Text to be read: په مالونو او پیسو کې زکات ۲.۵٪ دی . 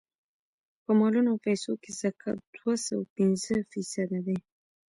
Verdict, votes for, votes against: rejected, 0, 2